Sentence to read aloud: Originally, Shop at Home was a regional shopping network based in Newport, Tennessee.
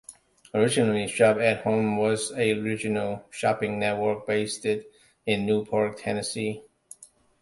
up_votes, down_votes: 0, 2